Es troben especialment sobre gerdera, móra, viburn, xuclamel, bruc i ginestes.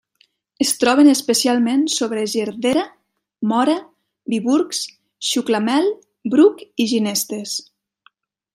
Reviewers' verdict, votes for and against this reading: rejected, 1, 2